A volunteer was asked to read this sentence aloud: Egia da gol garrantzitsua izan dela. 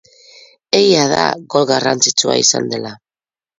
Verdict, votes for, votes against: accepted, 4, 0